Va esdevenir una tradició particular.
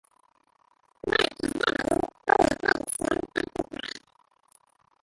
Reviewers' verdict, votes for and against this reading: rejected, 0, 2